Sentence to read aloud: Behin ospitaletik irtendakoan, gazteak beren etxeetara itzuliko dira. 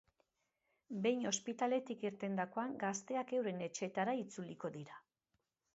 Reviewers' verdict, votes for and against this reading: rejected, 1, 2